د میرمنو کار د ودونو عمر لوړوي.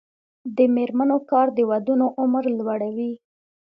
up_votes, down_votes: 2, 0